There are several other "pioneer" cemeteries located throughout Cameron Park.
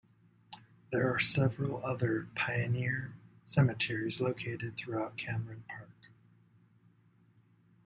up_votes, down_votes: 2, 0